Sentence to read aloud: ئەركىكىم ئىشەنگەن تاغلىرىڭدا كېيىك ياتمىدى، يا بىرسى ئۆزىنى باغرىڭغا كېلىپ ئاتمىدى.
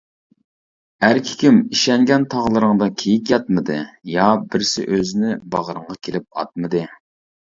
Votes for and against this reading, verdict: 2, 0, accepted